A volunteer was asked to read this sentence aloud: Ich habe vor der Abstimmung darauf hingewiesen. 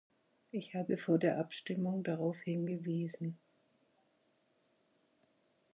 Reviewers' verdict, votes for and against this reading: accepted, 6, 0